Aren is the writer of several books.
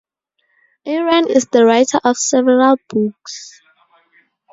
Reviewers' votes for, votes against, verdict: 2, 0, accepted